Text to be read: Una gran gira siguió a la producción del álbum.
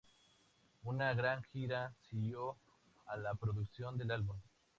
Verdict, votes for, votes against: accepted, 4, 0